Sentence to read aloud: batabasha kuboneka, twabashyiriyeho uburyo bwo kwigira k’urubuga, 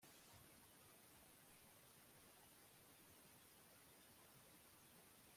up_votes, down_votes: 0, 2